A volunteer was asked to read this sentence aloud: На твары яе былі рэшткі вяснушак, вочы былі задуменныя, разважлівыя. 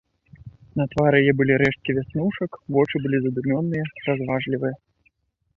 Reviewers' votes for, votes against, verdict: 0, 2, rejected